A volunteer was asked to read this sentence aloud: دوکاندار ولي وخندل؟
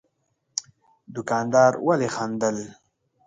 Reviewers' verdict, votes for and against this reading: rejected, 1, 3